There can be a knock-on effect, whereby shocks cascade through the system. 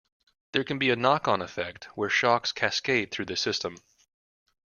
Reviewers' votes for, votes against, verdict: 0, 2, rejected